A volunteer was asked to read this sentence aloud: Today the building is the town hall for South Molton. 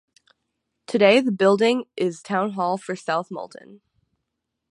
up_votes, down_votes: 3, 6